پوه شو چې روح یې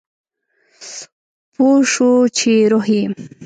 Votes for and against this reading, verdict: 2, 0, accepted